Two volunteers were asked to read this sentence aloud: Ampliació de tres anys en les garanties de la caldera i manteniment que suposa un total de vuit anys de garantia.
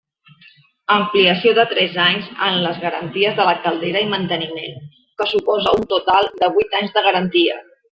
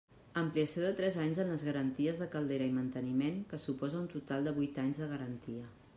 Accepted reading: first